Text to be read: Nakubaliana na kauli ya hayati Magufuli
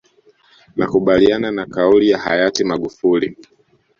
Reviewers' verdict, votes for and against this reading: accepted, 2, 1